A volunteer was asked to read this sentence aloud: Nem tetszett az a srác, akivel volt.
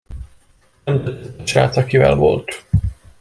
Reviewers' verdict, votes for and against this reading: rejected, 0, 2